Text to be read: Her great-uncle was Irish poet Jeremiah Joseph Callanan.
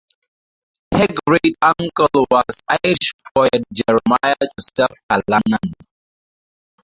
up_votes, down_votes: 2, 2